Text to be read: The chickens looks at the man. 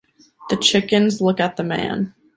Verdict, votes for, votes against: rejected, 1, 2